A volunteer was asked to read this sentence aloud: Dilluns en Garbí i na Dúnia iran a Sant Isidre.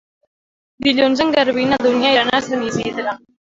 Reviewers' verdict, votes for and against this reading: rejected, 0, 2